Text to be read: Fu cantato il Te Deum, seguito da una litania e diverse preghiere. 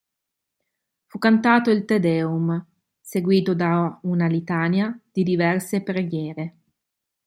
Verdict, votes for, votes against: rejected, 1, 2